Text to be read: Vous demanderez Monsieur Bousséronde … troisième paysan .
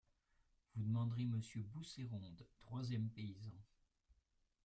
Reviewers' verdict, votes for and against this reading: rejected, 0, 2